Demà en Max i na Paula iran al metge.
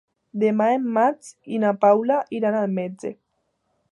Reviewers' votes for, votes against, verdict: 2, 0, accepted